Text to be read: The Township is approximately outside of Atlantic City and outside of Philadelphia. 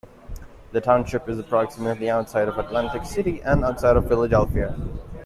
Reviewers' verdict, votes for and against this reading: accepted, 2, 1